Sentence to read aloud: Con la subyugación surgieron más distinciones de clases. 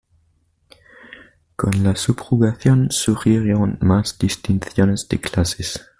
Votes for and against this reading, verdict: 1, 2, rejected